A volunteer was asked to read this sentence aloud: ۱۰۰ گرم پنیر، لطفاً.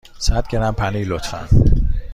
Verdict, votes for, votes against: rejected, 0, 2